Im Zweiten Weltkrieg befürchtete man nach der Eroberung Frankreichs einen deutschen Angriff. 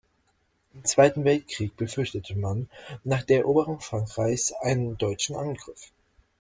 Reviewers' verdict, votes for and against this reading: accepted, 2, 1